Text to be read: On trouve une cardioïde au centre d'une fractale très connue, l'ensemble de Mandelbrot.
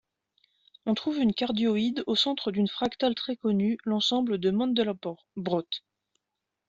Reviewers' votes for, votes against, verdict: 1, 2, rejected